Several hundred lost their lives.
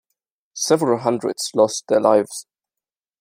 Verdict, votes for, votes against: rejected, 1, 2